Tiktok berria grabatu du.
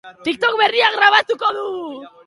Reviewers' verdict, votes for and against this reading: rejected, 0, 2